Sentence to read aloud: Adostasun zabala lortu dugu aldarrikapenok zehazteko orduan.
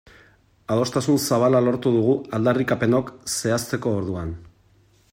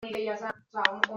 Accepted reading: first